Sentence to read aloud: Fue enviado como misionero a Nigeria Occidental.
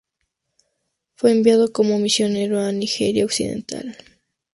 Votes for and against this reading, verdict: 4, 0, accepted